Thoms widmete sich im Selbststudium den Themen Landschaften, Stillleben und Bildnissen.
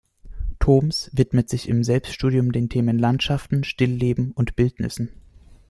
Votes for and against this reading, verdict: 1, 2, rejected